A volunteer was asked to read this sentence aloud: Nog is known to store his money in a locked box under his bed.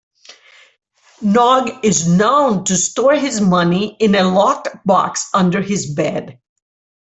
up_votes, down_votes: 2, 0